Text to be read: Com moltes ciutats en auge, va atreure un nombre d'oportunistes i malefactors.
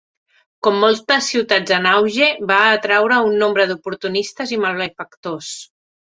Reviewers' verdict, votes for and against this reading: rejected, 0, 2